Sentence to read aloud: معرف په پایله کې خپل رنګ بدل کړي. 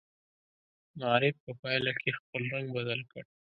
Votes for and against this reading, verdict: 0, 2, rejected